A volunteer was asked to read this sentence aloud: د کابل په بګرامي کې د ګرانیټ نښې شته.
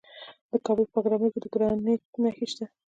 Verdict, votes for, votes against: rejected, 1, 2